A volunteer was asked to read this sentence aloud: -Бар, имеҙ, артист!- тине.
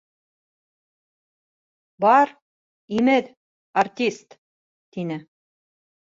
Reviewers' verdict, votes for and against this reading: accepted, 2, 0